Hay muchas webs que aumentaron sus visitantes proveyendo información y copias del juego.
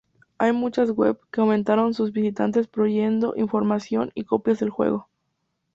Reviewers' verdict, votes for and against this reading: rejected, 0, 2